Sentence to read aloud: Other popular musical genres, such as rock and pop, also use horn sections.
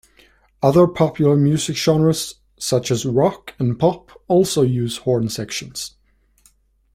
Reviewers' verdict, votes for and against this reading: accepted, 2, 1